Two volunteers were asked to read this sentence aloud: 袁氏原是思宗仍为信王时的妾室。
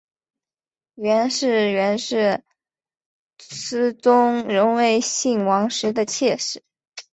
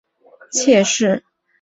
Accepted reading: first